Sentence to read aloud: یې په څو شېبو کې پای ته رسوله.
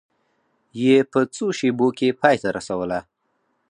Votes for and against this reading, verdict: 4, 0, accepted